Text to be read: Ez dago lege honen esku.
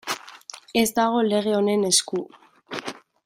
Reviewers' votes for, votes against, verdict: 2, 0, accepted